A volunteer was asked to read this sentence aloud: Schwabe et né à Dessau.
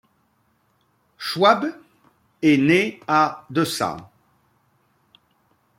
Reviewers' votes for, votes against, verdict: 0, 2, rejected